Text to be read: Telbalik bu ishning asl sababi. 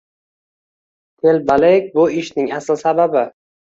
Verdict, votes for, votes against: accepted, 2, 0